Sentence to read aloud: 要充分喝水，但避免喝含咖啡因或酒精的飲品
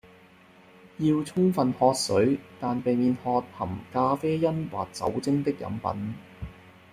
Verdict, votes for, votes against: accepted, 2, 0